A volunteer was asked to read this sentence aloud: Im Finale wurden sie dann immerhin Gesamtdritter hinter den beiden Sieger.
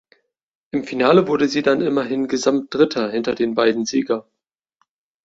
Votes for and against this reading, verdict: 1, 2, rejected